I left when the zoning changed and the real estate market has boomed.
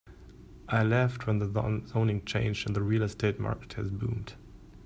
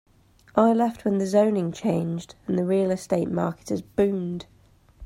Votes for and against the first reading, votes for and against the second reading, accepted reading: 0, 2, 2, 0, second